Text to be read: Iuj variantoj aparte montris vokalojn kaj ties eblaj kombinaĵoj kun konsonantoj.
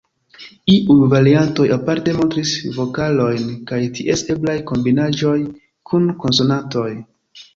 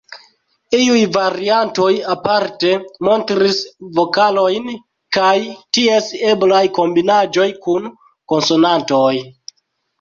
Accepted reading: first